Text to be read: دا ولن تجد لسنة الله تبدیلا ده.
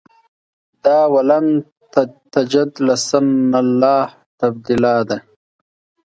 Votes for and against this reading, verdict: 2, 0, accepted